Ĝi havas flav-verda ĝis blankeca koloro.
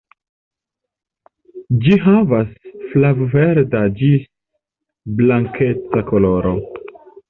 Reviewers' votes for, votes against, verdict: 2, 0, accepted